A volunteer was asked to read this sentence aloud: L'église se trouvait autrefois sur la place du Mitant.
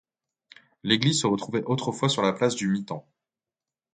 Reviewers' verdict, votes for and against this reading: rejected, 1, 2